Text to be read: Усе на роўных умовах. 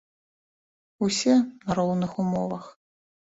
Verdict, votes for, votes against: accepted, 3, 2